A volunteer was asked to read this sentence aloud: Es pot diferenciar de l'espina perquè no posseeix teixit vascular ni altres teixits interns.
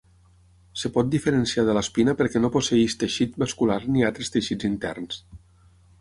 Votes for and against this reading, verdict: 0, 6, rejected